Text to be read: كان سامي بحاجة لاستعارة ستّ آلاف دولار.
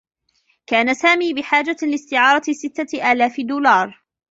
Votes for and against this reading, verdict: 1, 2, rejected